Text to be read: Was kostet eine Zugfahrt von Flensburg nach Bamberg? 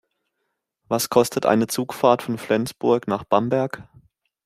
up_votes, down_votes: 2, 0